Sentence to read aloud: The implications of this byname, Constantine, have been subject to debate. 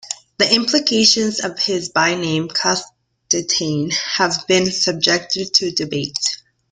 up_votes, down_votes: 1, 2